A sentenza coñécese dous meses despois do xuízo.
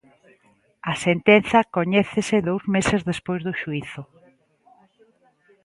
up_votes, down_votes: 2, 0